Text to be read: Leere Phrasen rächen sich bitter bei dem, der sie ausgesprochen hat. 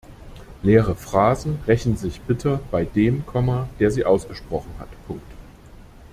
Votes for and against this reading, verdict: 0, 2, rejected